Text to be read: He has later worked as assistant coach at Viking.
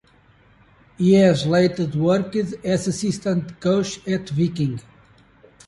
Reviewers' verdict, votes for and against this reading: rejected, 1, 2